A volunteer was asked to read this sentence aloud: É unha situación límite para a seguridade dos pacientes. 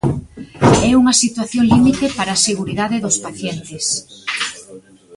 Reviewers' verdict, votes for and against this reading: accepted, 2, 0